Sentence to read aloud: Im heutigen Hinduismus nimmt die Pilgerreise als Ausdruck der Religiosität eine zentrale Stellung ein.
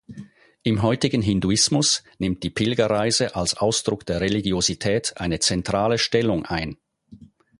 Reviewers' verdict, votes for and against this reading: accepted, 4, 0